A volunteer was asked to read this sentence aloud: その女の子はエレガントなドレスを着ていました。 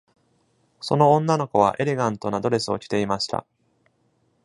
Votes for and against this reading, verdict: 2, 0, accepted